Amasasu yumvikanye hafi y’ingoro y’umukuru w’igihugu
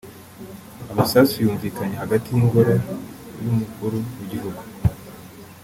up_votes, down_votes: 0, 2